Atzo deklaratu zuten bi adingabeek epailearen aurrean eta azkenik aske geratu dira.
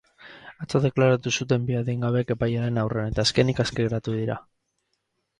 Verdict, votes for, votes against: accepted, 4, 0